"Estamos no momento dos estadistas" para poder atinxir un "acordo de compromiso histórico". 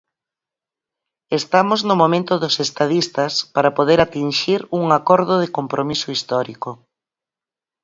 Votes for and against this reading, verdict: 4, 0, accepted